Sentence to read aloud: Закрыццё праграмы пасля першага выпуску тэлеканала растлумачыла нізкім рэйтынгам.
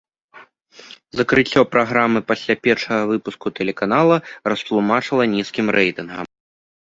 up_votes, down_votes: 2, 0